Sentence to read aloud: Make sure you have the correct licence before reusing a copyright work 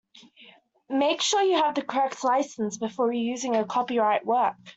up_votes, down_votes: 2, 0